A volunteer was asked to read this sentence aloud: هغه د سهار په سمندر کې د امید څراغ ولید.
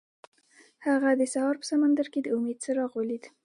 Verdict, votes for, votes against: accepted, 2, 0